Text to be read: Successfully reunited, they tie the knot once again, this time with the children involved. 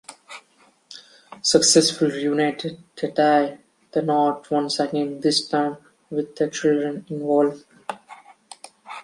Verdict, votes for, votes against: accepted, 2, 1